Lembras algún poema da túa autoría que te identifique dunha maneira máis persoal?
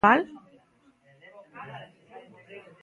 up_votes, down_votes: 0, 2